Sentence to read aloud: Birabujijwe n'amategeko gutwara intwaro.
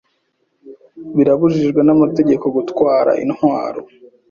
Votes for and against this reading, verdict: 2, 0, accepted